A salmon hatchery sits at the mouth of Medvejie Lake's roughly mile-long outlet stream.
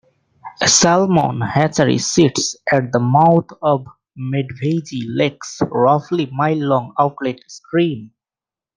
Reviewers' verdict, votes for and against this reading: rejected, 1, 2